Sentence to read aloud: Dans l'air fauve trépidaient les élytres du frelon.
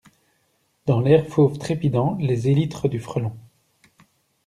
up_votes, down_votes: 0, 2